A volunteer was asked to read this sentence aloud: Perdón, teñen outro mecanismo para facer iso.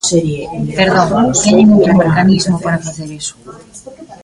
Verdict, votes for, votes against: rejected, 1, 2